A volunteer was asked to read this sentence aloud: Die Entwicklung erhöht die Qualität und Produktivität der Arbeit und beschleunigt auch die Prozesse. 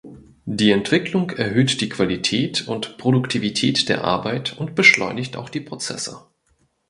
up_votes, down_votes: 2, 0